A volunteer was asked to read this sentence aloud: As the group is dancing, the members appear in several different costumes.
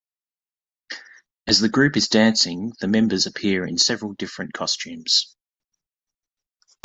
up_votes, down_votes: 2, 0